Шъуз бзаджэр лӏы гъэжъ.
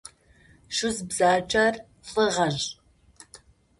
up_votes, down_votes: 2, 0